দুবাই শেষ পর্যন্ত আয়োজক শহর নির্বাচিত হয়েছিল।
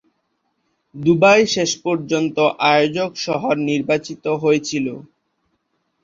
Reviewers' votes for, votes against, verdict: 10, 2, accepted